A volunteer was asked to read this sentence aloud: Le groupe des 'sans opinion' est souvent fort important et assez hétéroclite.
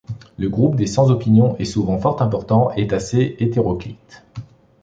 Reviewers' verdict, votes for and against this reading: accepted, 2, 1